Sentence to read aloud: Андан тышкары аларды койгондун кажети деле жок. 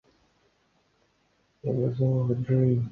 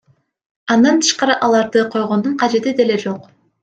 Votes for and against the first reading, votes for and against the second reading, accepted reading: 0, 2, 2, 1, second